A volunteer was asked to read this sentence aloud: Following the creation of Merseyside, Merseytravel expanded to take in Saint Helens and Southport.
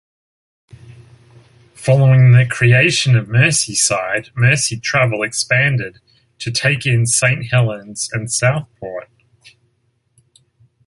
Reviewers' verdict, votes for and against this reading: accepted, 2, 0